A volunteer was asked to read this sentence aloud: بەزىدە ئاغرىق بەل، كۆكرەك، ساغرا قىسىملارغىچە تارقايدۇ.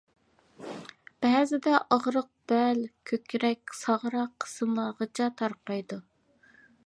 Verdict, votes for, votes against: accepted, 2, 0